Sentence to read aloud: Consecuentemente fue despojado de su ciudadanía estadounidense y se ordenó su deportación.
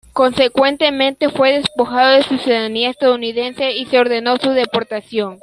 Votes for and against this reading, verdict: 2, 1, accepted